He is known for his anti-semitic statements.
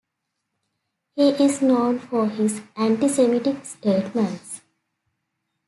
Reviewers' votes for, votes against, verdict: 2, 0, accepted